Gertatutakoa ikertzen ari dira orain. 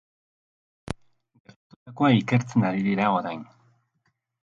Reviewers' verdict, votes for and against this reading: rejected, 0, 7